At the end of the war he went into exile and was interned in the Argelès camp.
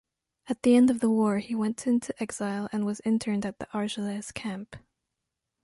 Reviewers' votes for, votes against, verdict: 2, 0, accepted